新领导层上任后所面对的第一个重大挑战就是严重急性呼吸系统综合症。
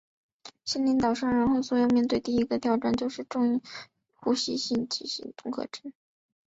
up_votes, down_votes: 0, 3